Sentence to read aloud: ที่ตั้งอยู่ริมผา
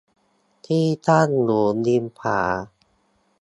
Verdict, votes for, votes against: accepted, 2, 0